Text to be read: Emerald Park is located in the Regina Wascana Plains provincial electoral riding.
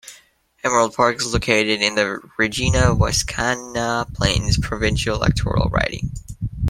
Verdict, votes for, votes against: accepted, 3, 0